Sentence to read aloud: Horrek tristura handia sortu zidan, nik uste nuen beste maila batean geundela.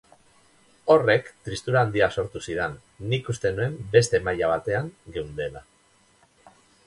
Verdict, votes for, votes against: rejected, 2, 4